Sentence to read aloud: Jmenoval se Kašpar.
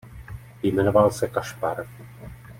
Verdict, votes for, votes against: accepted, 2, 0